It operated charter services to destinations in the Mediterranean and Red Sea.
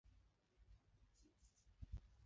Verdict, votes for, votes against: rejected, 0, 2